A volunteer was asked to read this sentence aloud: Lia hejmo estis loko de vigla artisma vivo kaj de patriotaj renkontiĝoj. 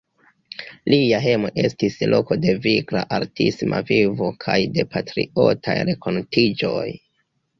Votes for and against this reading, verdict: 1, 2, rejected